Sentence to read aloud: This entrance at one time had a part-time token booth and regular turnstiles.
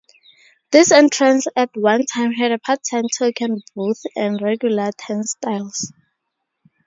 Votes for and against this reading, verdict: 2, 0, accepted